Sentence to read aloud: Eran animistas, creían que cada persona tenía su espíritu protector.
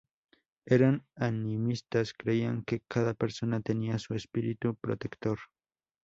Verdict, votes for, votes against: rejected, 0, 2